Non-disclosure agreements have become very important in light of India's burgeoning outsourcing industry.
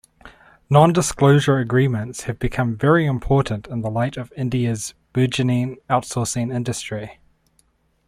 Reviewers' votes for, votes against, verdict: 2, 0, accepted